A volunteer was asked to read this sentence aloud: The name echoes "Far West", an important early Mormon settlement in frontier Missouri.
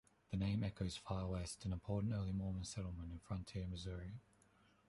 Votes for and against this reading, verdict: 1, 2, rejected